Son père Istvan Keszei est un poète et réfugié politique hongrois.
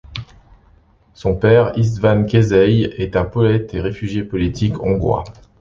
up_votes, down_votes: 2, 0